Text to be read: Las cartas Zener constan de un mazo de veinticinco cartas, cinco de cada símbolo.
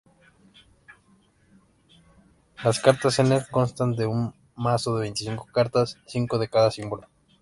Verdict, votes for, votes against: accepted, 2, 0